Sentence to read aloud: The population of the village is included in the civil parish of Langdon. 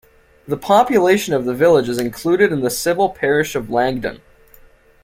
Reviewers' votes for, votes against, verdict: 1, 2, rejected